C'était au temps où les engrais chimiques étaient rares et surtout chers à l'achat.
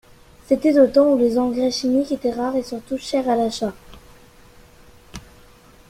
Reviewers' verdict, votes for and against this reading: rejected, 1, 2